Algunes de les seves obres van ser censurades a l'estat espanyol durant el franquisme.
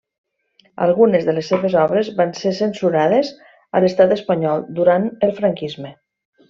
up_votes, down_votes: 3, 0